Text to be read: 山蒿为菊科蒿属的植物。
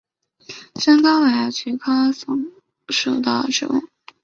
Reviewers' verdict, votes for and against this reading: accepted, 3, 2